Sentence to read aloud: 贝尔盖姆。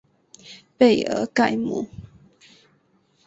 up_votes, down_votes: 5, 0